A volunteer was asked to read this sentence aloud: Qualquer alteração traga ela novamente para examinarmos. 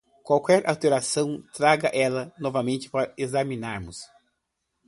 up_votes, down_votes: 2, 0